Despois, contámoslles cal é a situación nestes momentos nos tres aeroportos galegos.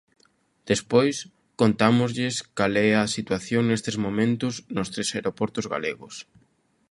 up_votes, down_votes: 2, 0